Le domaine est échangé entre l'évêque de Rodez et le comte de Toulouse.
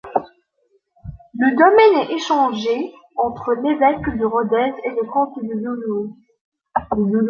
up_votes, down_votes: 1, 2